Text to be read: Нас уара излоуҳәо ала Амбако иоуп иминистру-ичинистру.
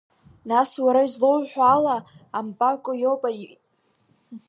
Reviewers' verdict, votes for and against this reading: rejected, 0, 3